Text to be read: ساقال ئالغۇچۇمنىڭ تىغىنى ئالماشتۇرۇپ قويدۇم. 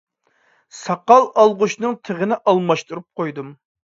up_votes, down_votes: 0, 2